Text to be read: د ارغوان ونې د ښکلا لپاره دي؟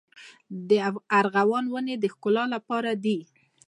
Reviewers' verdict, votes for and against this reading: rejected, 0, 2